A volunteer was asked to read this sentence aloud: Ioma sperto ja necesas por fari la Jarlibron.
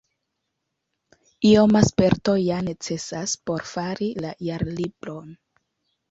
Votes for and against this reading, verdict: 2, 0, accepted